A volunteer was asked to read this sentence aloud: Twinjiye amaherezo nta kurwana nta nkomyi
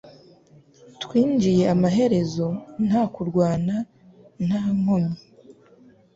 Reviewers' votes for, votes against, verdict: 2, 0, accepted